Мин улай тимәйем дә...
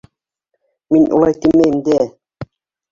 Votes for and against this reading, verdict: 1, 2, rejected